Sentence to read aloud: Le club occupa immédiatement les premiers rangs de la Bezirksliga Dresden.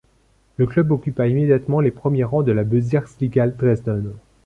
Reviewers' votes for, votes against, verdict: 2, 0, accepted